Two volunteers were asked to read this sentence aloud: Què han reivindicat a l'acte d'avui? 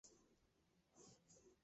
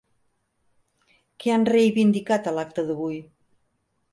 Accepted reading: second